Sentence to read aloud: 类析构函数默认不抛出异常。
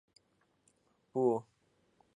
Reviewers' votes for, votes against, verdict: 0, 2, rejected